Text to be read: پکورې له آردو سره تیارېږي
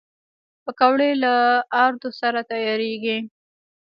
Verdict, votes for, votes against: rejected, 0, 2